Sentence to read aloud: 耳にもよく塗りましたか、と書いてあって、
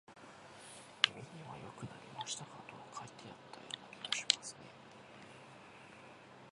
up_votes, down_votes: 1, 3